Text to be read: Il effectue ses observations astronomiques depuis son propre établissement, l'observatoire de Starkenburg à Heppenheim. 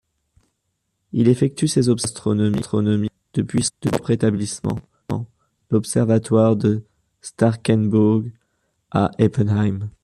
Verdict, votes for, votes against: rejected, 1, 2